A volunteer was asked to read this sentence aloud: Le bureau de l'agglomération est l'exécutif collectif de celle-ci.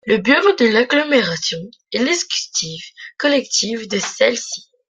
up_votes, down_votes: 2, 0